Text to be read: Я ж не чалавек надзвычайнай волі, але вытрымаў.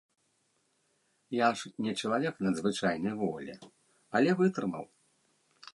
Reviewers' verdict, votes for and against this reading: accepted, 3, 0